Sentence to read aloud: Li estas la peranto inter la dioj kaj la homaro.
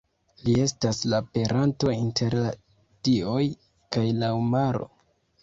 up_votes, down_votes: 0, 2